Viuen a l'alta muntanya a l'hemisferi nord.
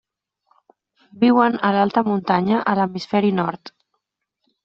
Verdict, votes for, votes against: accepted, 3, 0